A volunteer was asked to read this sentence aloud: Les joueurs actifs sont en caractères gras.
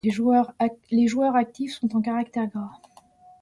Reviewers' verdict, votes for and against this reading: rejected, 0, 2